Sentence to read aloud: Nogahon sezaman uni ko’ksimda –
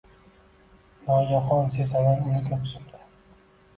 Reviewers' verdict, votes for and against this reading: rejected, 0, 2